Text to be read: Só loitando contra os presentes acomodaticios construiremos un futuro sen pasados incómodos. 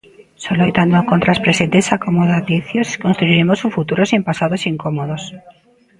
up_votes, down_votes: 0, 2